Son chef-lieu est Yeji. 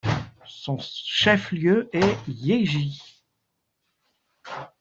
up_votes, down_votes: 2, 0